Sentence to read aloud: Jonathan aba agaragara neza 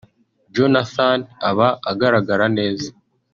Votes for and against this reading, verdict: 2, 1, accepted